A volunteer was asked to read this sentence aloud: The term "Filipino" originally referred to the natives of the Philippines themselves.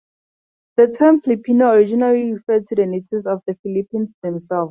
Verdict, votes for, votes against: accepted, 2, 0